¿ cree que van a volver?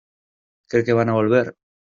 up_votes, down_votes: 2, 0